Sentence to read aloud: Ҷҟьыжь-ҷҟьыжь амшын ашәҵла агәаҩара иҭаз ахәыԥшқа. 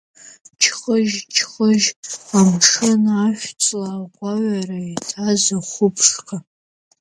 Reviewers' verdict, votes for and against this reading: rejected, 1, 3